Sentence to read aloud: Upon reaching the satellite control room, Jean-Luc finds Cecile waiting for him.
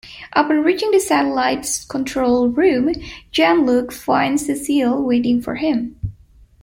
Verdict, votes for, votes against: rejected, 1, 2